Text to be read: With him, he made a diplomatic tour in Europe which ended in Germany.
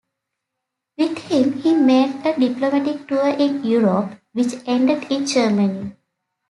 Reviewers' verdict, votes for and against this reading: accepted, 2, 0